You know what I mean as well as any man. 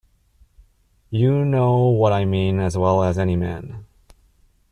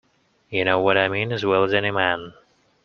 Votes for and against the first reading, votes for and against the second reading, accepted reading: 2, 0, 1, 2, first